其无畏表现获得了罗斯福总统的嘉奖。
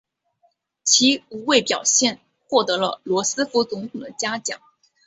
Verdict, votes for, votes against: accepted, 3, 0